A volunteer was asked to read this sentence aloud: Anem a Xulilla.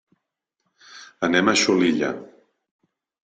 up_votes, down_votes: 2, 0